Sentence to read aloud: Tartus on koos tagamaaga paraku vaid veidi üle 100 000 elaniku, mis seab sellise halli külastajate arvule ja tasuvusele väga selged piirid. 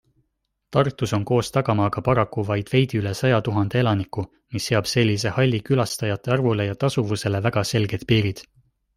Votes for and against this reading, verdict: 0, 2, rejected